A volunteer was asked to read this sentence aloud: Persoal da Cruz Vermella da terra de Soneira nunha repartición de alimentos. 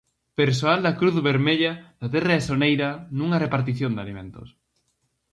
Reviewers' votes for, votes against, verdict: 4, 0, accepted